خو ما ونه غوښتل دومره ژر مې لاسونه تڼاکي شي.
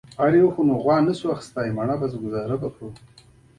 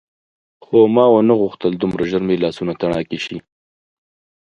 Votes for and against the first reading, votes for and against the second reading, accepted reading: 0, 2, 3, 0, second